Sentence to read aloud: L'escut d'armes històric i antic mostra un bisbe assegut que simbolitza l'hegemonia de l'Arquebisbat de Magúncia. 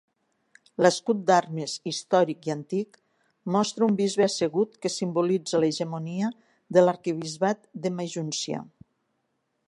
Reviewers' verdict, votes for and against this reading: rejected, 1, 2